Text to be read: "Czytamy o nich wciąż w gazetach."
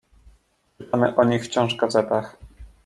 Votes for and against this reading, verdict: 0, 2, rejected